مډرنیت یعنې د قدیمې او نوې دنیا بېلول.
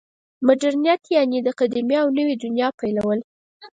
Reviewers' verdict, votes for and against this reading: rejected, 0, 4